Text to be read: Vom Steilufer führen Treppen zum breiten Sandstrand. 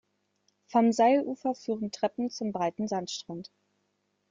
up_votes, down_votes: 0, 2